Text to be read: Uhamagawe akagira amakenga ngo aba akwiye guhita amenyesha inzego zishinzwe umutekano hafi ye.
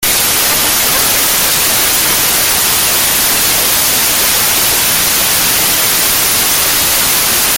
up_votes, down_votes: 0, 2